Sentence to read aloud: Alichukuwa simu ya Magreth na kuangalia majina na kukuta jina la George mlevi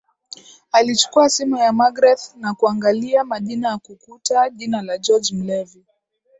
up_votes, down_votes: 2, 0